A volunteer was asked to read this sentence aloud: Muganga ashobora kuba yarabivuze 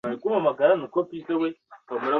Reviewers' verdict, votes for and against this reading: rejected, 0, 2